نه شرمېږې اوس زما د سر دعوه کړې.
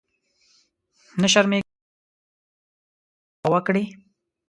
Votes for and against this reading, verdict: 0, 2, rejected